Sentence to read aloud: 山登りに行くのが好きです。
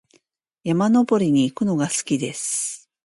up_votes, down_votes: 2, 0